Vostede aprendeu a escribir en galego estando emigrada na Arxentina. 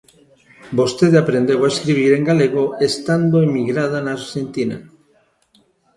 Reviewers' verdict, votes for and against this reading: accepted, 2, 0